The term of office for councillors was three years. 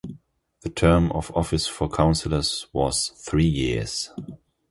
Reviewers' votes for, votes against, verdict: 2, 0, accepted